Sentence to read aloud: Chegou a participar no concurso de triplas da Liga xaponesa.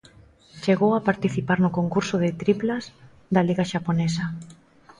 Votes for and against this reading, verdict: 2, 0, accepted